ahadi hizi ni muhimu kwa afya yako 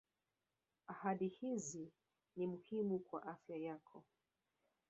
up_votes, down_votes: 1, 2